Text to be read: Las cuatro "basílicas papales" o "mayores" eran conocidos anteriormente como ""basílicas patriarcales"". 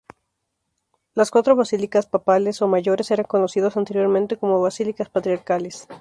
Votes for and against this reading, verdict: 2, 0, accepted